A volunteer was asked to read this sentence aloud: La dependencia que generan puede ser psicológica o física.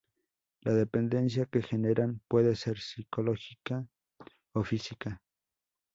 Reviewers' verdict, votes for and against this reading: accepted, 2, 0